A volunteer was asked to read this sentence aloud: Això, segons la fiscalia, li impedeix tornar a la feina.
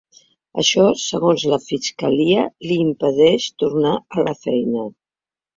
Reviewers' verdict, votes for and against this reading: accepted, 3, 0